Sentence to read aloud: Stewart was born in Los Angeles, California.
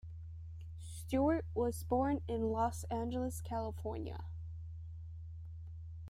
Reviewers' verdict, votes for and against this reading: accepted, 2, 0